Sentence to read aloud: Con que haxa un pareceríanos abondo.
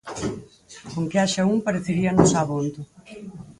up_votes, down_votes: 2, 2